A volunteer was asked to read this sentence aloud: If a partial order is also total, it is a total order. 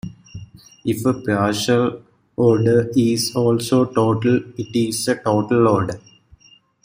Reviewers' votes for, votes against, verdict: 2, 0, accepted